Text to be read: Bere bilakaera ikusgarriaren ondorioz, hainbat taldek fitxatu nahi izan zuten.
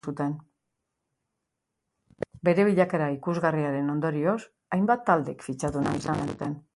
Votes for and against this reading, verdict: 1, 2, rejected